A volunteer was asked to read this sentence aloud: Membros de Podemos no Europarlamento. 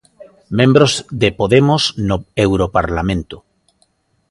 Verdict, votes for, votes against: accepted, 2, 0